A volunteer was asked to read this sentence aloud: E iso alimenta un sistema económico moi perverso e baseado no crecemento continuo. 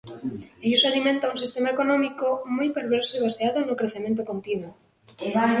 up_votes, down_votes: 2, 1